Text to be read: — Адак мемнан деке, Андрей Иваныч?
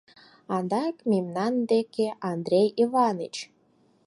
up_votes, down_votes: 4, 0